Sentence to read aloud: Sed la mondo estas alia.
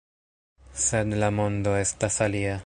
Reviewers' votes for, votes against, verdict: 0, 2, rejected